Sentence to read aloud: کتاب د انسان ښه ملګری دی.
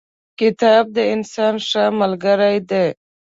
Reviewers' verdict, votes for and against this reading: accepted, 2, 0